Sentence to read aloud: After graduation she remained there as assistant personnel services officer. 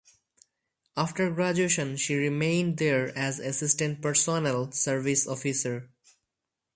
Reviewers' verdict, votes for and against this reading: rejected, 0, 2